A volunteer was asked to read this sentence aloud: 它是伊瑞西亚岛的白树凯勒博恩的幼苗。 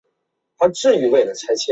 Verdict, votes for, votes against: rejected, 1, 4